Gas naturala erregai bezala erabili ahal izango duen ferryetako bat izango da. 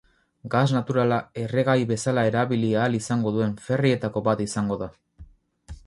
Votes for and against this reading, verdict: 2, 2, rejected